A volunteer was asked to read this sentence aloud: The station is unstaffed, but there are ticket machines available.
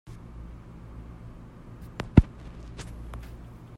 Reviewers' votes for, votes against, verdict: 0, 2, rejected